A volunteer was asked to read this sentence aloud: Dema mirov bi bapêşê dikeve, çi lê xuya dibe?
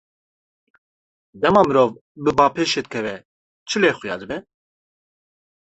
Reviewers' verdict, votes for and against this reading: accepted, 2, 0